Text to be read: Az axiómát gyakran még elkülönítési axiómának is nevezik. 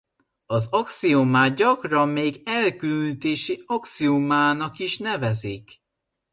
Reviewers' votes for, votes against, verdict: 1, 2, rejected